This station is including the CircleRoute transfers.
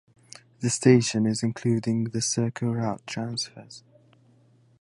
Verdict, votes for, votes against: accepted, 4, 0